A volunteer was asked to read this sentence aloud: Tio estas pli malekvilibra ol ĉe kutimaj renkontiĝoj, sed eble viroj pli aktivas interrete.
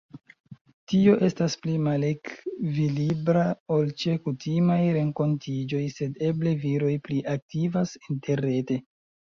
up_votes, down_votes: 0, 2